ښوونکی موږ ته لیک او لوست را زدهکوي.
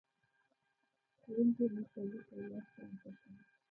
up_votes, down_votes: 1, 2